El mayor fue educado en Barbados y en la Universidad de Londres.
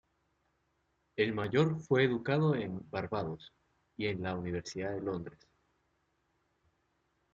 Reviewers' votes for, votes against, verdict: 2, 0, accepted